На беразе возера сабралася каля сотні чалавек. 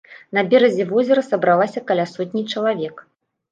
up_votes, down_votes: 1, 2